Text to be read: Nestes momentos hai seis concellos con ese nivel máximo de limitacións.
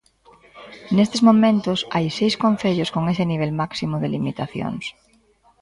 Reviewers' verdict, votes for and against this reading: rejected, 0, 2